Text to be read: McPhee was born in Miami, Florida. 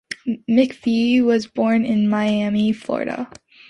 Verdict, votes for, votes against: accepted, 2, 0